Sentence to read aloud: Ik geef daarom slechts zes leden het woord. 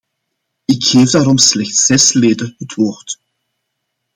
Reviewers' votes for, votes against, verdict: 2, 0, accepted